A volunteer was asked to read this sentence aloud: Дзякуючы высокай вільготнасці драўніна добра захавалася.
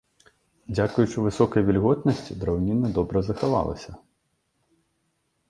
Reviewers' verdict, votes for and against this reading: accepted, 2, 0